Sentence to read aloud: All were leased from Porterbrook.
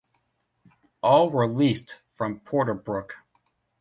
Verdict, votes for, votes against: rejected, 1, 2